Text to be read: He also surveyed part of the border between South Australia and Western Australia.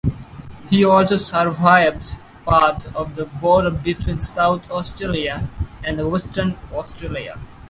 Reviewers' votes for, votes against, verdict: 2, 4, rejected